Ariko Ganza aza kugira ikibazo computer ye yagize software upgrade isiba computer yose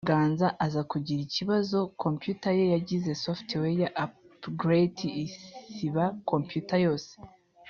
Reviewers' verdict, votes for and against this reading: rejected, 1, 2